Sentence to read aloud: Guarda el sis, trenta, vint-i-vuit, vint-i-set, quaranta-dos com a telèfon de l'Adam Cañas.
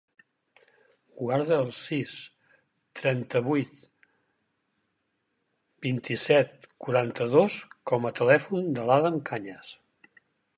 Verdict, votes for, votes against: rejected, 0, 4